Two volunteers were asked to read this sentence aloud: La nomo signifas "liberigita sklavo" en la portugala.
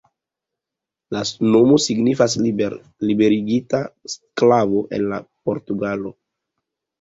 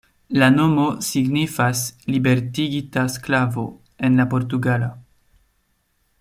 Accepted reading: first